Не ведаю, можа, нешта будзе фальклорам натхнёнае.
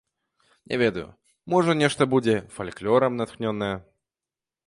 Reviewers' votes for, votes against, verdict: 1, 2, rejected